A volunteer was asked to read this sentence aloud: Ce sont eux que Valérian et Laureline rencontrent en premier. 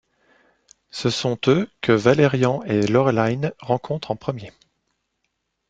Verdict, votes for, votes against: rejected, 0, 2